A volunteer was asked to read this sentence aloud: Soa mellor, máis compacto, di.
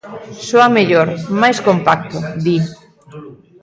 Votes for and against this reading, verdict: 0, 2, rejected